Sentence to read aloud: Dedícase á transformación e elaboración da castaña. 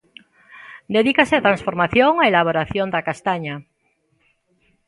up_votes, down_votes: 2, 0